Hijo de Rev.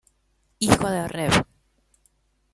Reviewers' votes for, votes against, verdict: 0, 2, rejected